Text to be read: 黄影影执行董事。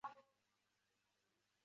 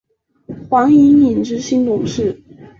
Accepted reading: second